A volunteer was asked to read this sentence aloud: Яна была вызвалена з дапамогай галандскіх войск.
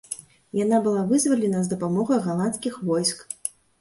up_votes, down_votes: 2, 0